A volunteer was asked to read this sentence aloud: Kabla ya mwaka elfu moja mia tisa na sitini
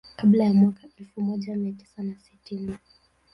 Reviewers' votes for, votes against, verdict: 0, 3, rejected